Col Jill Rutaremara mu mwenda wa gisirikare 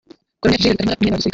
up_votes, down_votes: 0, 2